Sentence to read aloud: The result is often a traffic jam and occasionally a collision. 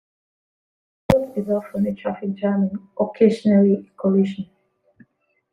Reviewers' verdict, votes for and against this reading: rejected, 0, 3